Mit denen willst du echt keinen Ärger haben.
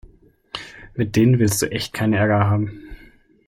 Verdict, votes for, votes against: accepted, 2, 0